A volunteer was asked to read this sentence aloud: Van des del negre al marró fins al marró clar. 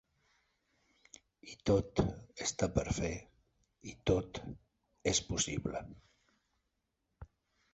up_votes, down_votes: 0, 3